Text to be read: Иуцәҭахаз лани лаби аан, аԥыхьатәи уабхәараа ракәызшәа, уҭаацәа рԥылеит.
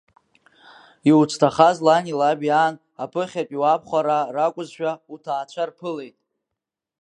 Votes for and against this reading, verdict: 2, 0, accepted